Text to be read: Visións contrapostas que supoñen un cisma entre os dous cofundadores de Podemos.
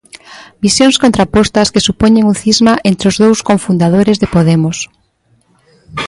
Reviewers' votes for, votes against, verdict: 1, 2, rejected